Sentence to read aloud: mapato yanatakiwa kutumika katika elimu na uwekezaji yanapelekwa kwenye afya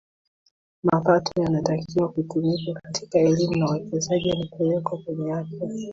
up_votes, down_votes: 2, 0